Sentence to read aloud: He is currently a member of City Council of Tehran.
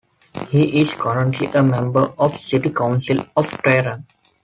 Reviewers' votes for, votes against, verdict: 2, 0, accepted